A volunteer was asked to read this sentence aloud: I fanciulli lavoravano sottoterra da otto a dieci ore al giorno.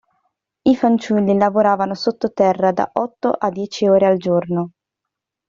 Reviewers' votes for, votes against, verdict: 2, 0, accepted